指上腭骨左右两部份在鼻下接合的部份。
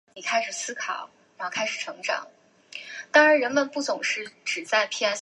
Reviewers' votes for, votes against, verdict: 0, 2, rejected